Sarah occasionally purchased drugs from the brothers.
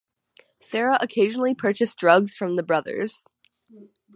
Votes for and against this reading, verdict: 6, 0, accepted